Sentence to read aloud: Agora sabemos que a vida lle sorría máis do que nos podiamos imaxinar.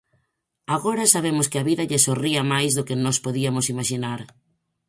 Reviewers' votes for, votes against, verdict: 2, 4, rejected